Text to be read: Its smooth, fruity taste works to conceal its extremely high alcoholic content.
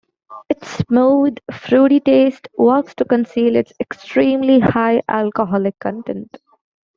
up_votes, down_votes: 2, 0